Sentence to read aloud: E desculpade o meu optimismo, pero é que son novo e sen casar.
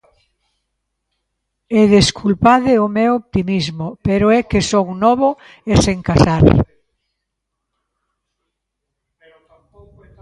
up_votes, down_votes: 1, 2